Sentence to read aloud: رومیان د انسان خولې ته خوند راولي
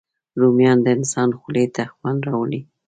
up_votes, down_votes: 2, 0